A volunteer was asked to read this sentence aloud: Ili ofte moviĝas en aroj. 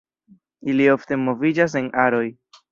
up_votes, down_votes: 2, 0